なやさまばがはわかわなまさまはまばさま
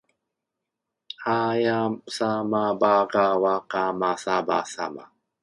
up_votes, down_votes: 0, 2